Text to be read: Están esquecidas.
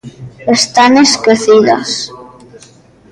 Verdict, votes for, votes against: rejected, 1, 2